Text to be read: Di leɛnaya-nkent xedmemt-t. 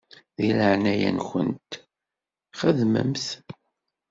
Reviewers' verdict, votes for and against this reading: rejected, 1, 2